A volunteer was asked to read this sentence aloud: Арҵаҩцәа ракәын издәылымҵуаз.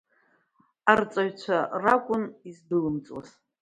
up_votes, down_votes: 2, 0